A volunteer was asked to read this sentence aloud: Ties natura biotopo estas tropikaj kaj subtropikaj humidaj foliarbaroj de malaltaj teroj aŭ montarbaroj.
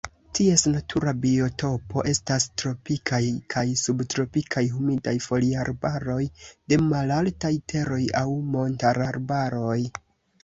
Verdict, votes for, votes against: rejected, 2, 3